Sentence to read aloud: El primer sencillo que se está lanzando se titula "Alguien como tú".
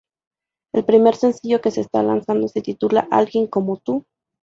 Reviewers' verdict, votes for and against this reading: accepted, 2, 0